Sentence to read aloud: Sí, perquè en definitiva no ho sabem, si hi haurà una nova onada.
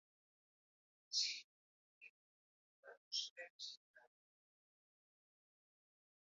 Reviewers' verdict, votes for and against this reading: rejected, 0, 2